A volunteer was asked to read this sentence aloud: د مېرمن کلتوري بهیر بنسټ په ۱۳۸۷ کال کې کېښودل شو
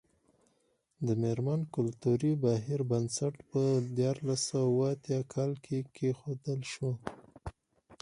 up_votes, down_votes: 0, 2